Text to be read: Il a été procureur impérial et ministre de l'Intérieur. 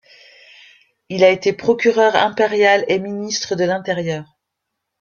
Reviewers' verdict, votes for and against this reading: accepted, 2, 0